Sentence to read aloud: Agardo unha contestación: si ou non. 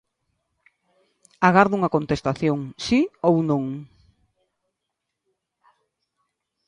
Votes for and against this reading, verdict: 2, 0, accepted